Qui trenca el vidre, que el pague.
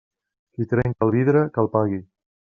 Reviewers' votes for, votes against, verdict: 1, 2, rejected